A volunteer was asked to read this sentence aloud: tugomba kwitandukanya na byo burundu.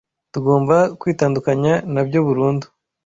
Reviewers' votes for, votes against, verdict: 2, 0, accepted